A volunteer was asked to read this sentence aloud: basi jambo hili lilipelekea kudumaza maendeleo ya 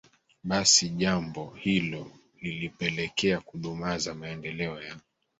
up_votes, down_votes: 1, 2